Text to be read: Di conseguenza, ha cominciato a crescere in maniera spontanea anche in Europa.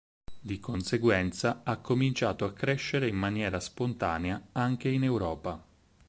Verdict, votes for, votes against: accepted, 4, 0